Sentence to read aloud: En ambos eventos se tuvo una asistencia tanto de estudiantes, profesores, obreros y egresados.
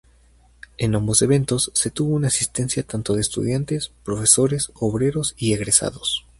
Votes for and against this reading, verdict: 2, 2, rejected